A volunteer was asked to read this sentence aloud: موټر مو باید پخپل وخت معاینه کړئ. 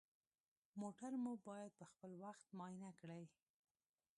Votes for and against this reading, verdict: 1, 2, rejected